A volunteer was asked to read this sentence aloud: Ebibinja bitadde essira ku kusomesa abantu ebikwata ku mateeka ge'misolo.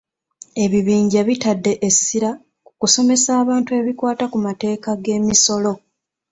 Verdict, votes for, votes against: accepted, 2, 0